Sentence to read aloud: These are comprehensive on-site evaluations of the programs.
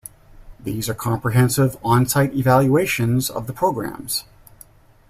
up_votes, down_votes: 2, 0